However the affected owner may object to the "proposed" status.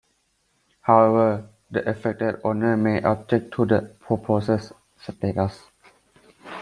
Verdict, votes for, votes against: rejected, 0, 2